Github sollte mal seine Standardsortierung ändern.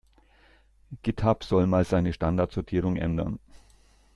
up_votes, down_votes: 0, 2